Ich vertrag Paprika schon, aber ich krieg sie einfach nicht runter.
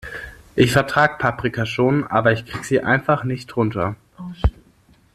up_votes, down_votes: 2, 0